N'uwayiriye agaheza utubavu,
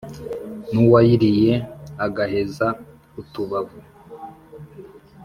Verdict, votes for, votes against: accepted, 2, 0